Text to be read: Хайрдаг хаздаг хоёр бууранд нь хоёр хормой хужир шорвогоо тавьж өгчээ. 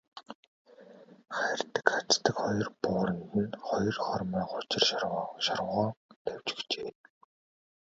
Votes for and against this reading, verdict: 0, 3, rejected